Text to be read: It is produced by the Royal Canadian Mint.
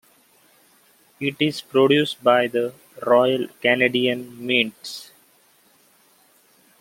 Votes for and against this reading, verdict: 0, 2, rejected